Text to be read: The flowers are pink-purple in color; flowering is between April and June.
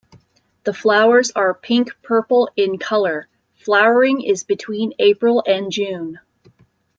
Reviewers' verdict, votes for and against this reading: accepted, 2, 1